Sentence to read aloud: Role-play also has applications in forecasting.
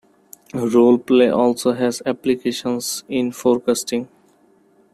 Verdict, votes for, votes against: accepted, 2, 0